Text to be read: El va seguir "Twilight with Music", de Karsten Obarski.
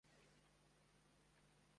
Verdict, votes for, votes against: rejected, 0, 2